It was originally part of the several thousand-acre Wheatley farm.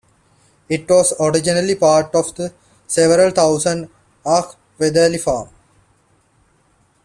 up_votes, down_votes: 0, 2